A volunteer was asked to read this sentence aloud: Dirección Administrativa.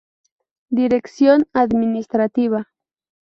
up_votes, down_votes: 2, 0